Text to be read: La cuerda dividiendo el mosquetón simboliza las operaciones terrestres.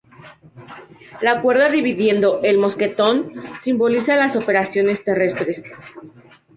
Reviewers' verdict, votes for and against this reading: accepted, 2, 0